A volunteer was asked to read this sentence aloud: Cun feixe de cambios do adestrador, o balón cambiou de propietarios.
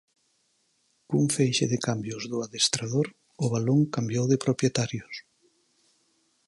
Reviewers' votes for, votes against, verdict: 4, 0, accepted